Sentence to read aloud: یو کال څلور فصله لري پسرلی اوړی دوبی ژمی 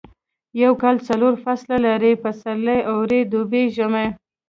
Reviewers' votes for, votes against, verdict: 0, 2, rejected